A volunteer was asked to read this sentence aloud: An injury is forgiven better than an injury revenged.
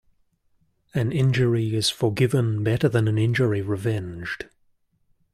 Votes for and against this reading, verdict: 2, 0, accepted